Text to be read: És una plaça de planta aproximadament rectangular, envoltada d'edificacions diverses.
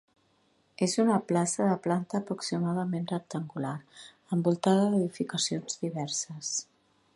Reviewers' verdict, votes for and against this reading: accepted, 3, 0